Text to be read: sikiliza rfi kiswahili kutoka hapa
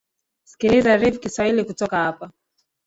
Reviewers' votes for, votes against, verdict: 1, 2, rejected